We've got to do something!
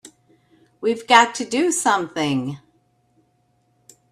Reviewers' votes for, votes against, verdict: 3, 0, accepted